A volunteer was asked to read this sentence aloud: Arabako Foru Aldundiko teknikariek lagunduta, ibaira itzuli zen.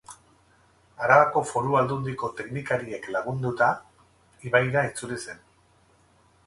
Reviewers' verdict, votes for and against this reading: accepted, 4, 0